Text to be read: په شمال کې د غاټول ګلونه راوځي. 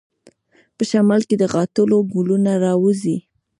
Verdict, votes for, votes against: rejected, 1, 2